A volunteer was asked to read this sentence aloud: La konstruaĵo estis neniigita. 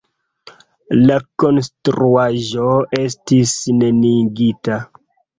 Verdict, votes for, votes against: accepted, 2, 0